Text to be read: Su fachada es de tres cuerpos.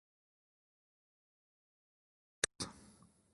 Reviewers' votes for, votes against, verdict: 0, 2, rejected